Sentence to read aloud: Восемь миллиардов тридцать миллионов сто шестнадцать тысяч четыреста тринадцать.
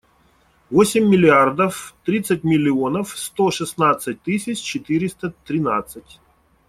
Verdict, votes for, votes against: accepted, 2, 0